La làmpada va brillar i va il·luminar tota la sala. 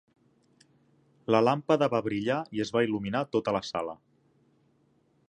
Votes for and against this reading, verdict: 0, 2, rejected